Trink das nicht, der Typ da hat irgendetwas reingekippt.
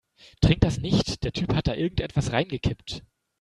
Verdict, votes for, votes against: rejected, 0, 2